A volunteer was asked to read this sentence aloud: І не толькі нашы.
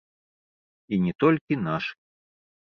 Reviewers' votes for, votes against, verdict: 1, 2, rejected